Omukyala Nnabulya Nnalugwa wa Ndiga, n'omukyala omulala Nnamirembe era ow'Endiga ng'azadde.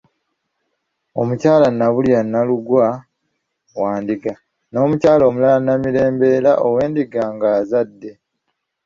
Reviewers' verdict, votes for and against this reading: accepted, 3, 1